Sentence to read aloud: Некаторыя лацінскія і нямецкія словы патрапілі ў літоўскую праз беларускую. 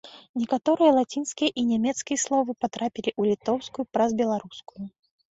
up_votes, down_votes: 2, 0